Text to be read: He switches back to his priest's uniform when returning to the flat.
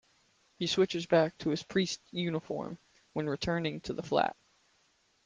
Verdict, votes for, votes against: accepted, 2, 1